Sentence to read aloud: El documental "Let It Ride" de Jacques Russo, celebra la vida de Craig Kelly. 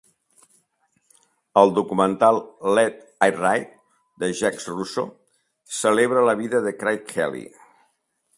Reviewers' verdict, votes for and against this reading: accepted, 5, 1